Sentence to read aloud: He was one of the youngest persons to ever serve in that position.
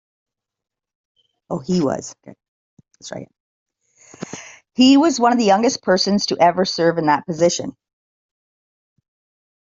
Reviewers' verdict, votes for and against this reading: rejected, 1, 2